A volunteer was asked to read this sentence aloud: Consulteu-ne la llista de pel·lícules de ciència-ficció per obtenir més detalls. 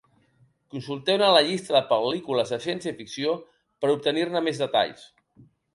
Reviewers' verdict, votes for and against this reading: accepted, 2, 1